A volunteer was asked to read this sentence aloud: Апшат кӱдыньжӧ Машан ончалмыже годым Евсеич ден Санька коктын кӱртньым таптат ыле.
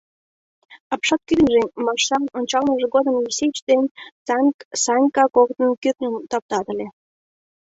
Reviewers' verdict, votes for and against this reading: rejected, 1, 2